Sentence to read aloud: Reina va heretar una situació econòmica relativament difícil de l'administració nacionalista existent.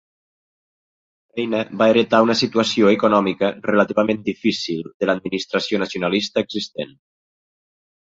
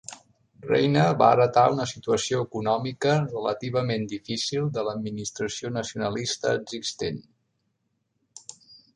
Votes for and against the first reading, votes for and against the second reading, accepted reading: 1, 2, 2, 0, second